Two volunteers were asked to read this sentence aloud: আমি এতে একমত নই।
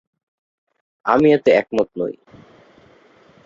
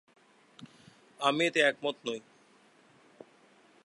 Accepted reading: second